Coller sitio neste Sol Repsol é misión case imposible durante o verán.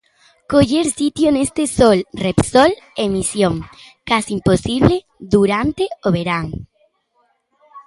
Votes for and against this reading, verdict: 2, 1, accepted